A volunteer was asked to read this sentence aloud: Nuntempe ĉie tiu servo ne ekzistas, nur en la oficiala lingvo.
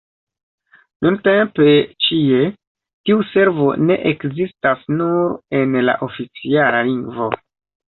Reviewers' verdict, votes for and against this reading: accepted, 2, 0